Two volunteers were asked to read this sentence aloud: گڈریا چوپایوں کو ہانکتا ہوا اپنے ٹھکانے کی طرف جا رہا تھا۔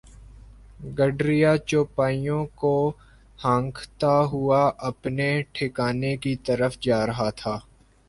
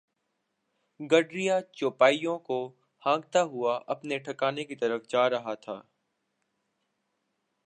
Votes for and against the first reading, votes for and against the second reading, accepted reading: 0, 2, 2, 0, second